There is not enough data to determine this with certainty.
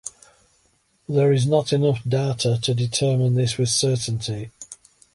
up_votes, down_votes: 2, 0